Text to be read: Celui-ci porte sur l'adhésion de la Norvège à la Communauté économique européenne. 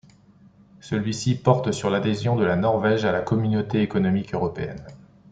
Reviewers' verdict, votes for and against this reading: accepted, 2, 0